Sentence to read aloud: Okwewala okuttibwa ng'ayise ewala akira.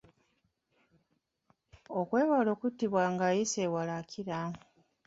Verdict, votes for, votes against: rejected, 0, 2